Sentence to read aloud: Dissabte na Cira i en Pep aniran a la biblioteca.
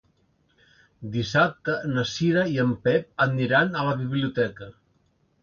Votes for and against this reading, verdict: 2, 0, accepted